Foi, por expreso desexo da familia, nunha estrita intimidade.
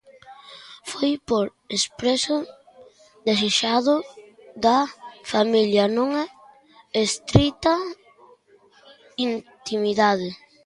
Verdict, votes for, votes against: rejected, 0, 2